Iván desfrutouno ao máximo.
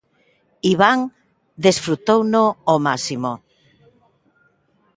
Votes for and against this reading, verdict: 2, 1, accepted